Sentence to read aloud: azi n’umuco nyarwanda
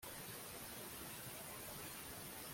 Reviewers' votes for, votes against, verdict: 0, 2, rejected